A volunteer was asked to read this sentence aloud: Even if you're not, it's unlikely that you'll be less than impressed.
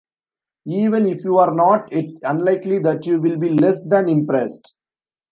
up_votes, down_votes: 2, 1